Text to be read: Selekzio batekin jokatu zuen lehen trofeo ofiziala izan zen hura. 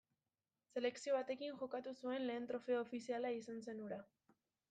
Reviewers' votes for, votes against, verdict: 1, 2, rejected